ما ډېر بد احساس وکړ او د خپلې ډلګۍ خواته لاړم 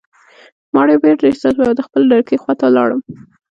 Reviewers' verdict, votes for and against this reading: rejected, 1, 2